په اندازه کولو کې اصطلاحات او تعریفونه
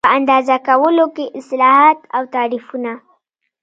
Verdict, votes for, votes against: rejected, 1, 2